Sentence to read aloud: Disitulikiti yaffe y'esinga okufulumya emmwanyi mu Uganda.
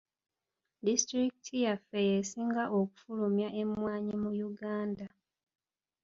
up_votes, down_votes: 2, 1